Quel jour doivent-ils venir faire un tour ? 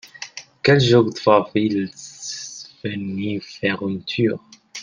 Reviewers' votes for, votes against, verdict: 1, 2, rejected